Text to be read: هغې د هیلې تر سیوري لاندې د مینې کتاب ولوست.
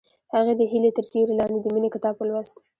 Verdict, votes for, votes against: accepted, 2, 0